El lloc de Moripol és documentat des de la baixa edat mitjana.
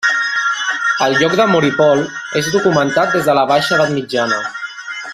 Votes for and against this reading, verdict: 1, 2, rejected